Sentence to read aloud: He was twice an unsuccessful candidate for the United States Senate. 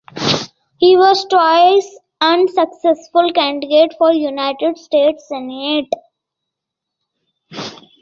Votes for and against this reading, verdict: 1, 2, rejected